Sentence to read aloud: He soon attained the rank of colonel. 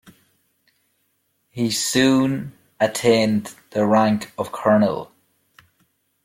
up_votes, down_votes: 2, 0